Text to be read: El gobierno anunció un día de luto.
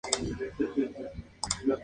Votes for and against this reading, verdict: 0, 2, rejected